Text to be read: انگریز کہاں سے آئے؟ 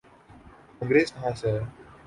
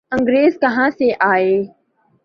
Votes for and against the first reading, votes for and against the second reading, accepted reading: 1, 2, 4, 0, second